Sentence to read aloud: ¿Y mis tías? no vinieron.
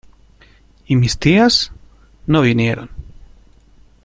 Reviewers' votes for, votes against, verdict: 2, 0, accepted